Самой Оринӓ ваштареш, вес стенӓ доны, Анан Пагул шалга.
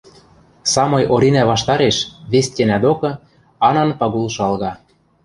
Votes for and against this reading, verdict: 0, 2, rejected